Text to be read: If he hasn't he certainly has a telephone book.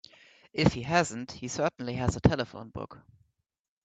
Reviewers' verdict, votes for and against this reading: accepted, 3, 0